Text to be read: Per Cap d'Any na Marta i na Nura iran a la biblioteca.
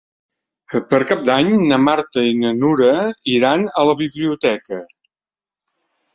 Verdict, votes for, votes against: accepted, 4, 0